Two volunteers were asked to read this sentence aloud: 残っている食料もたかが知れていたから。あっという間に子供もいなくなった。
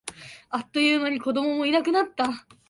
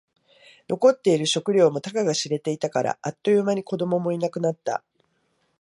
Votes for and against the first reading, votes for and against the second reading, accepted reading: 0, 2, 2, 0, second